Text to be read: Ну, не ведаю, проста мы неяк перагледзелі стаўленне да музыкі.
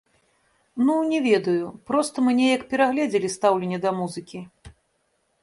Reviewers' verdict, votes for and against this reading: rejected, 1, 2